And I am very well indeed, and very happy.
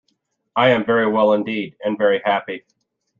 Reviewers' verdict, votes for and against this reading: rejected, 1, 2